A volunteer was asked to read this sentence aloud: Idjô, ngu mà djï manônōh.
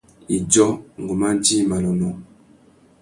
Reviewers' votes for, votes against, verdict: 2, 0, accepted